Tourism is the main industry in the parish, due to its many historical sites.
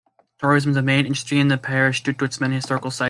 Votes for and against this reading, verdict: 0, 2, rejected